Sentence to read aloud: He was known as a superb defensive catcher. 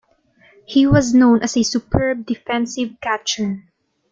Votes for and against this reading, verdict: 2, 0, accepted